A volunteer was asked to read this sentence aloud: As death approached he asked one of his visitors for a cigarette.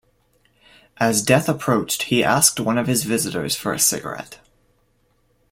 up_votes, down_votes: 2, 0